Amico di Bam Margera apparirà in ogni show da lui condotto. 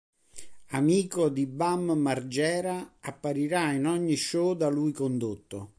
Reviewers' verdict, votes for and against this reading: accepted, 2, 0